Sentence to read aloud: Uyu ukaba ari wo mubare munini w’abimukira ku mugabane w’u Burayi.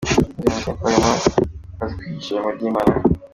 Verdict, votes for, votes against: rejected, 0, 2